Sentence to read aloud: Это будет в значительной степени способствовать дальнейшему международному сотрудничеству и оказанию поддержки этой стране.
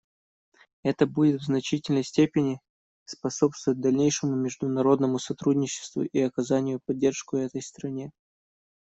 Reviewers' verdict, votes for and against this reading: rejected, 1, 2